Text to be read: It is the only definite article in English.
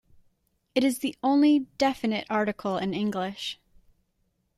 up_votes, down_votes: 2, 0